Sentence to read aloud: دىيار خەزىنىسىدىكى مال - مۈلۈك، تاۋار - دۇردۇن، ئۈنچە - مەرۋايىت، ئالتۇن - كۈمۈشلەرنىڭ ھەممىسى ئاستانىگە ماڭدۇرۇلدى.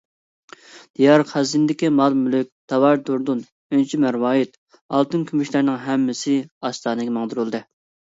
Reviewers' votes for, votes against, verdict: 0, 2, rejected